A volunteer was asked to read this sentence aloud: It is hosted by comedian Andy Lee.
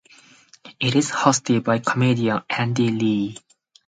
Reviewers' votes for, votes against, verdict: 4, 0, accepted